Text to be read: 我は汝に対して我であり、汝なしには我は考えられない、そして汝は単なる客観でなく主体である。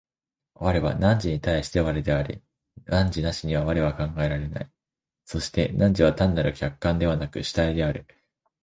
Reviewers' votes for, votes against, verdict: 2, 1, accepted